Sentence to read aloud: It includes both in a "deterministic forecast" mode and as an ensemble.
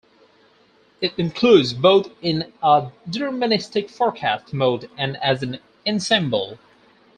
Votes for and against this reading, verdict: 0, 4, rejected